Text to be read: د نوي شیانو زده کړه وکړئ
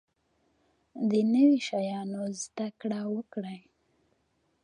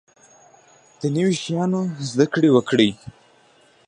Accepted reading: first